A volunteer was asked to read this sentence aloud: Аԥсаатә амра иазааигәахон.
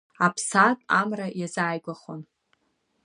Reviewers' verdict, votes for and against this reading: accepted, 2, 1